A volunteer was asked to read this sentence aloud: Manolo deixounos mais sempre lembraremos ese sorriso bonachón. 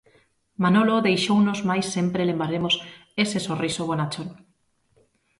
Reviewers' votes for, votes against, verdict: 1, 2, rejected